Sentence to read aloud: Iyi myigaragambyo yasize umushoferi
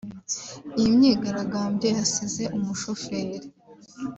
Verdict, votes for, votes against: accepted, 2, 1